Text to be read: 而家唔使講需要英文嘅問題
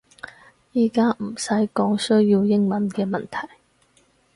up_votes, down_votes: 2, 4